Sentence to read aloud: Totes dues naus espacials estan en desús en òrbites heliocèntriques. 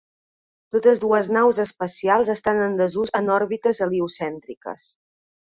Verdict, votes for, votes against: accepted, 3, 0